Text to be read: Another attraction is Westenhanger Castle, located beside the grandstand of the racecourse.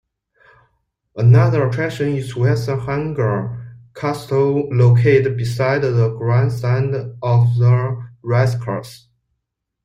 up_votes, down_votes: 2, 1